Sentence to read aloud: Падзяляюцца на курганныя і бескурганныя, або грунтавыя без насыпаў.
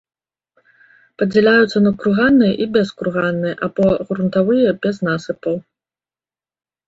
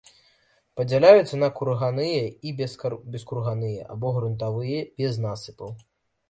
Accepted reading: first